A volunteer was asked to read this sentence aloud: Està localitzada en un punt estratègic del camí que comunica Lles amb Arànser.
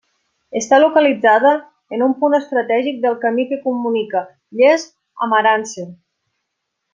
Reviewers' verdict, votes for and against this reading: accepted, 2, 0